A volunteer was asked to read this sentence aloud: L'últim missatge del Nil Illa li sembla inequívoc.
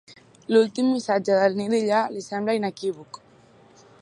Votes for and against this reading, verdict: 2, 0, accepted